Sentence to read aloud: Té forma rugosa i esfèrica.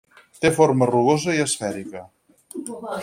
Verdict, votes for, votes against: accepted, 6, 0